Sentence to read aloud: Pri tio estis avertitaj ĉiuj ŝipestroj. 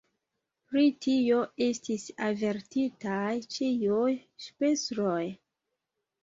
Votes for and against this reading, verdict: 1, 2, rejected